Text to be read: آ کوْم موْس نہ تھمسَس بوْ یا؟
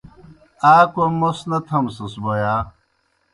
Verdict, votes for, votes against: accepted, 2, 0